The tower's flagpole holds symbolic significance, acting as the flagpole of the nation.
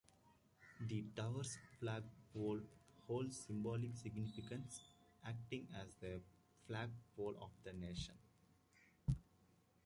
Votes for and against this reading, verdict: 2, 1, accepted